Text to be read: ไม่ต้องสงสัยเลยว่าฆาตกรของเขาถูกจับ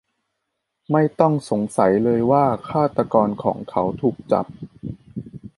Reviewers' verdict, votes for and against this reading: accepted, 2, 0